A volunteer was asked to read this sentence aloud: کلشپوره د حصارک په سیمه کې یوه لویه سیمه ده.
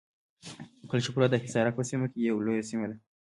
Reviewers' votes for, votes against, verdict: 2, 0, accepted